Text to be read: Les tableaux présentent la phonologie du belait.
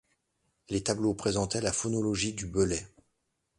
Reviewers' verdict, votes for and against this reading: accepted, 2, 1